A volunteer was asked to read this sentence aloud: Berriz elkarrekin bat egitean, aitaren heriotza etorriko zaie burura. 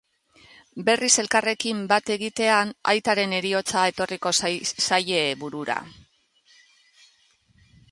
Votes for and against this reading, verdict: 1, 2, rejected